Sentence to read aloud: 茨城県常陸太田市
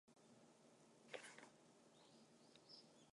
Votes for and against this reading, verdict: 1, 2, rejected